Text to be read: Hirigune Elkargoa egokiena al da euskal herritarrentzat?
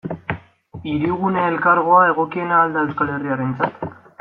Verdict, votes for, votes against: accepted, 2, 1